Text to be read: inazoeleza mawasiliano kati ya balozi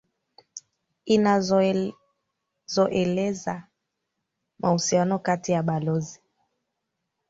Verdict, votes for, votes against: rejected, 1, 2